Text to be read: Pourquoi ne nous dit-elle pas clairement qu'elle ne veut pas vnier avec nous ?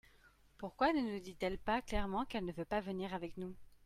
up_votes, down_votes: 2, 0